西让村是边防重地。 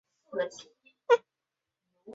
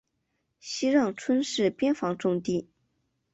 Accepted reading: second